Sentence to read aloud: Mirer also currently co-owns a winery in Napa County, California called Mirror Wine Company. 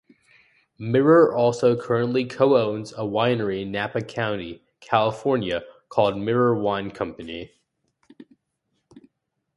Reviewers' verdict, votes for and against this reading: accepted, 2, 0